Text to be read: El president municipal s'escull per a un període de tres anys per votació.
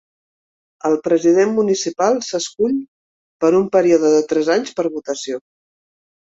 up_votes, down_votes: 2, 0